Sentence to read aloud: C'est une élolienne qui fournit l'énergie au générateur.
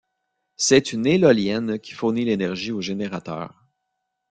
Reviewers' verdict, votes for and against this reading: rejected, 1, 2